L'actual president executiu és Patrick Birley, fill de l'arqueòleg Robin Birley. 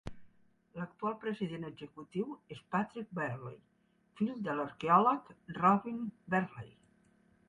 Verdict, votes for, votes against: rejected, 1, 2